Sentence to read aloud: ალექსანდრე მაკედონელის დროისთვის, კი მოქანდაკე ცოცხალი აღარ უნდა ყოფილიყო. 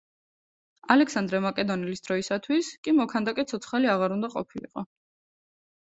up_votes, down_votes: 0, 2